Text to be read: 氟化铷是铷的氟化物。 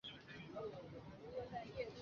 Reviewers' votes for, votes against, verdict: 0, 4, rejected